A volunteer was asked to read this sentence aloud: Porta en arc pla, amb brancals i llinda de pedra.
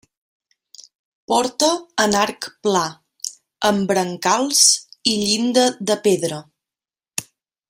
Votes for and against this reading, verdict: 3, 0, accepted